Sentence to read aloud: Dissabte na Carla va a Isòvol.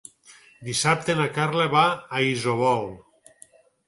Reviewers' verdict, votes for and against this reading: rejected, 2, 4